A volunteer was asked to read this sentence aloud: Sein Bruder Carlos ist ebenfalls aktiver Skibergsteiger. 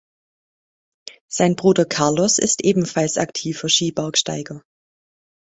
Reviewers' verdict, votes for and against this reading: accepted, 2, 0